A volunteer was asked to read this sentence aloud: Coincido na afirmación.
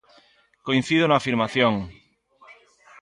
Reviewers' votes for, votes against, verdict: 2, 1, accepted